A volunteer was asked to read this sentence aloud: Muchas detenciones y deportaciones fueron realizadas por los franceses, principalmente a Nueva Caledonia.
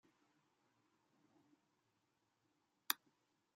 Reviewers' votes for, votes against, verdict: 1, 2, rejected